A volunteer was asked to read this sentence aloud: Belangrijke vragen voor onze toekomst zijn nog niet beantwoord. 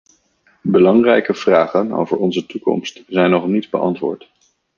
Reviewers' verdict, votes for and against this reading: rejected, 0, 2